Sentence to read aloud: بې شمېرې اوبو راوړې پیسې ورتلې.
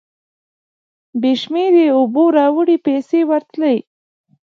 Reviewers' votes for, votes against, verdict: 2, 0, accepted